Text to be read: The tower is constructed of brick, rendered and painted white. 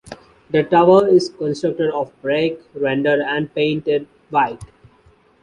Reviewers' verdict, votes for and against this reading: rejected, 1, 2